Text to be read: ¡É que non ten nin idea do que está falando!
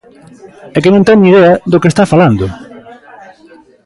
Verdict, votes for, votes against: rejected, 1, 2